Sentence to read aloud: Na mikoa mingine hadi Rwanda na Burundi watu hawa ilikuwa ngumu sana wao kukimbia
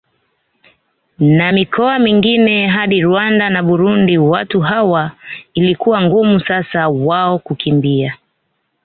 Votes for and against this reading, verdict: 0, 2, rejected